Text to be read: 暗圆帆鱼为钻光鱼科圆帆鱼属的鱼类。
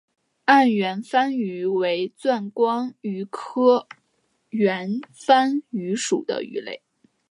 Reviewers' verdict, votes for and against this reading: accepted, 2, 0